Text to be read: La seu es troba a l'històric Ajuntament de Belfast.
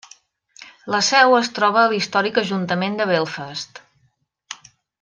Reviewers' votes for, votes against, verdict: 2, 0, accepted